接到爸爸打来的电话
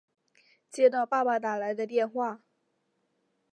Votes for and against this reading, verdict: 2, 1, accepted